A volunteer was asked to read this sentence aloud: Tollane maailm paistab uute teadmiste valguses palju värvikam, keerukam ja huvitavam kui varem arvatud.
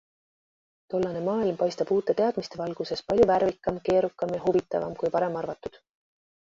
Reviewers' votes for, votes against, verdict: 2, 0, accepted